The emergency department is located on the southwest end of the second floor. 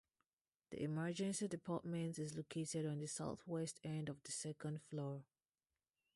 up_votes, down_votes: 0, 2